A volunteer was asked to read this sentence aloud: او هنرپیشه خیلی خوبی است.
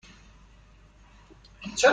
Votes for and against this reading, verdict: 1, 2, rejected